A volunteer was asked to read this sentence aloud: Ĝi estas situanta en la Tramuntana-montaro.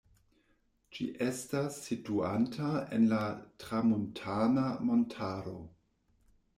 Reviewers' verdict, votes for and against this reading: accepted, 2, 1